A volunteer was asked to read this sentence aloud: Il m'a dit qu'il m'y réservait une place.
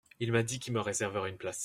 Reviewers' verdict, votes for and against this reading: rejected, 1, 2